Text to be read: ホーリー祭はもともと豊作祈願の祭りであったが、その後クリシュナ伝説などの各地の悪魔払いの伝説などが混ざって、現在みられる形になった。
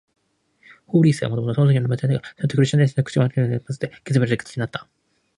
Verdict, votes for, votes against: rejected, 14, 22